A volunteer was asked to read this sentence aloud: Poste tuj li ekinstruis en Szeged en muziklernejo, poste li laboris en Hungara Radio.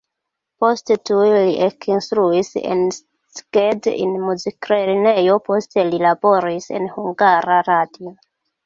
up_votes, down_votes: 0, 2